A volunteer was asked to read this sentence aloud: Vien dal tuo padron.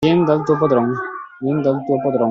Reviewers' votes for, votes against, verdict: 0, 2, rejected